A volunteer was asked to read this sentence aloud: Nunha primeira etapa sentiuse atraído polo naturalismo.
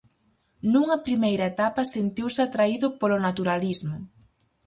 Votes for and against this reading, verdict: 4, 0, accepted